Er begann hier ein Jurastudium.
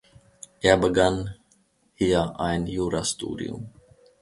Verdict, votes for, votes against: accepted, 2, 0